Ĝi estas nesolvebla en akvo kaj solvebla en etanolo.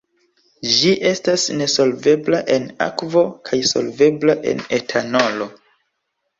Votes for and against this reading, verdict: 4, 0, accepted